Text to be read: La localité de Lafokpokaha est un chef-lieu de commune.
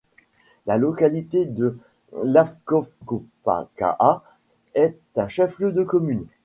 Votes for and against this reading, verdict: 1, 2, rejected